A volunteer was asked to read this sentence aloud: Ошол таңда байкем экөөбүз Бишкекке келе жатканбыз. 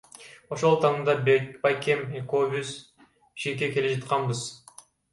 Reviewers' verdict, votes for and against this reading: rejected, 1, 2